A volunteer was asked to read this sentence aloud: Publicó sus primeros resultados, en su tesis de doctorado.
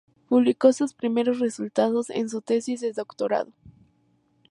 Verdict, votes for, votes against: accepted, 2, 0